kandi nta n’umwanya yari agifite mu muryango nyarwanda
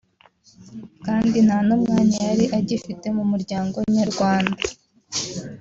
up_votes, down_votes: 2, 0